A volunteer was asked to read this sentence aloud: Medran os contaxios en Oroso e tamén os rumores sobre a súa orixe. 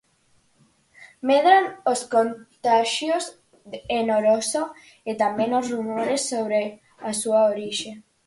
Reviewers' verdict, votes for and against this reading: accepted, 4, 2